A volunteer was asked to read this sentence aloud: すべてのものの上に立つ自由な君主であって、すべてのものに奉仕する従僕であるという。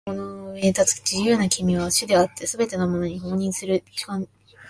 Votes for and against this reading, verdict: 0, 2, rejected